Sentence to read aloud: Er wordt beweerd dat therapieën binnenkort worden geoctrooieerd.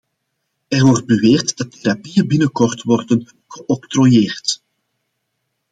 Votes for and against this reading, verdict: 2, 0, accepted